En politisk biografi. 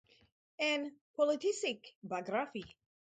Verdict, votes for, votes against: rejected, 2, 2